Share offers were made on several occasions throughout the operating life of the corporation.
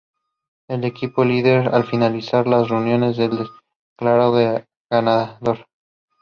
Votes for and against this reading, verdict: 0, 2, rejected